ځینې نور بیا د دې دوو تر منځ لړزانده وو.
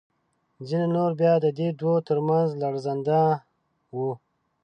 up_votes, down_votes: 3, 0